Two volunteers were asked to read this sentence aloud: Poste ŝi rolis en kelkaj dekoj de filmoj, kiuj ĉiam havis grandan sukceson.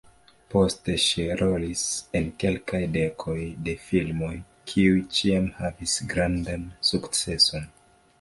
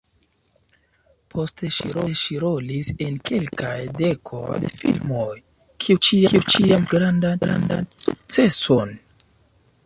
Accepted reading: first